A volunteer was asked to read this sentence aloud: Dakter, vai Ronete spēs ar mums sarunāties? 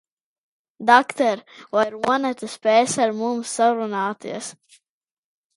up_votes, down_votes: 0, 2